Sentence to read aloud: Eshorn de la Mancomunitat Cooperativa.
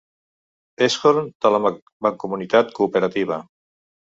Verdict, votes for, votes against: rejected, 0, 2